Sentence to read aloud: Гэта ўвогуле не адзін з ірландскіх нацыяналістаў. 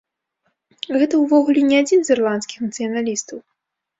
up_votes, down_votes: 2, 0